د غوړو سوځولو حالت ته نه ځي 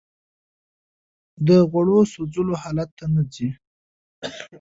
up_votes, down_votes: 2, 0